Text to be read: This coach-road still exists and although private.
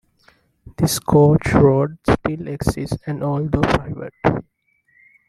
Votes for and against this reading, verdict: 2, 0, accepted